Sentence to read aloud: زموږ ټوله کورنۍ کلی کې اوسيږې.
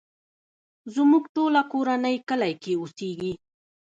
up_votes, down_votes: 0, 2